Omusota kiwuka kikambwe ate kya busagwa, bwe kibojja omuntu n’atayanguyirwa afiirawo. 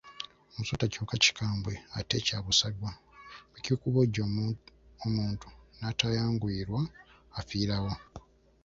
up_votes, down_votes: 1, 3